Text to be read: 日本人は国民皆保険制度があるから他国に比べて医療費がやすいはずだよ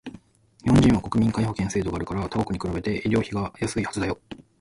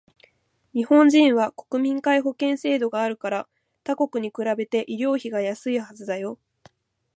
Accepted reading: first